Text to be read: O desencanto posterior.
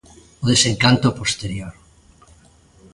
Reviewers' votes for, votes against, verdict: 2, 0, accepted